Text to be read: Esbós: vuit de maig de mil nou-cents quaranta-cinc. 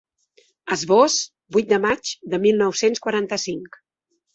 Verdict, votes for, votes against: accepted, 3, 0